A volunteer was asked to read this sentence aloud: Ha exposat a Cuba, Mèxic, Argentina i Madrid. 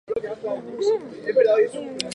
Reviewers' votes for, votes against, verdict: 2, 2, rejected